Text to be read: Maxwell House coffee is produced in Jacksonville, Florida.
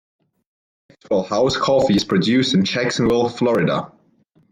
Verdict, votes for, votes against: rejected, 1, 2